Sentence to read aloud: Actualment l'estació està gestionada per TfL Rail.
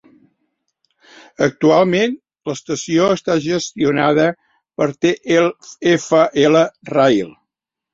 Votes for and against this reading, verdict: 1, 2, rejected